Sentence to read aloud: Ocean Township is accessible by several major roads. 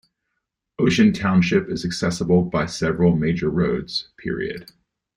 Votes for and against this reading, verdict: 2, 1, accepted